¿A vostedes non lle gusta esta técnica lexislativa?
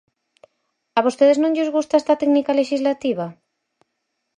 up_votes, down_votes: 0, 4